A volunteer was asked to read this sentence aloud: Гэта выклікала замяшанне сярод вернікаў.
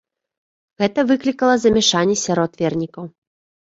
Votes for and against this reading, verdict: 2, 0, accepted